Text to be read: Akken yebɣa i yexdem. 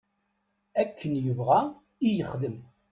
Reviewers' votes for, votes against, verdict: 2, 0, accepted